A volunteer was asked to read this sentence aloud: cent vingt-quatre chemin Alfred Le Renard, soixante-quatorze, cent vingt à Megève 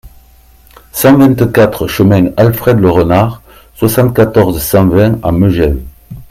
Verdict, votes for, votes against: accepted, 2, 0